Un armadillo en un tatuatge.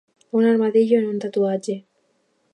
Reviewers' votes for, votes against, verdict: 2, 0, accepted